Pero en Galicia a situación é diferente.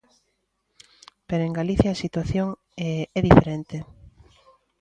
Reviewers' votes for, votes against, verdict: 1, 2, rejected